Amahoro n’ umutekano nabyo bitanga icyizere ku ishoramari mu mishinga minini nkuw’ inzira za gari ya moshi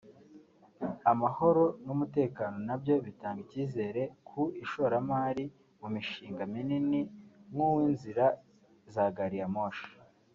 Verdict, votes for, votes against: accepted, 3, 0